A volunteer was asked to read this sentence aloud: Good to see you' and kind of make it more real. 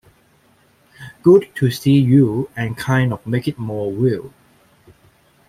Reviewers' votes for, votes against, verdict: 2, 0, accepted